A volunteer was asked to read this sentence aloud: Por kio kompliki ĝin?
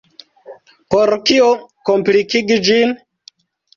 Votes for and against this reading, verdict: 1, 2, rejected